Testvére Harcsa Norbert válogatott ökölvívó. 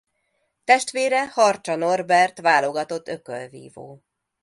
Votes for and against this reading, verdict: 2, 0, accepted